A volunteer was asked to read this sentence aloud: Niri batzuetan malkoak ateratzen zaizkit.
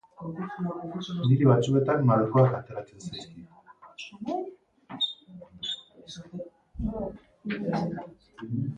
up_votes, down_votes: 2, 2